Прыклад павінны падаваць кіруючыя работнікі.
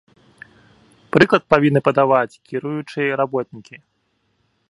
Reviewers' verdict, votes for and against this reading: accepted, 2, 0